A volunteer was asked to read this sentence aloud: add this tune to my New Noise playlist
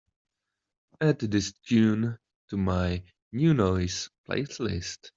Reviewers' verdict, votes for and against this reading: rejected, 0, 2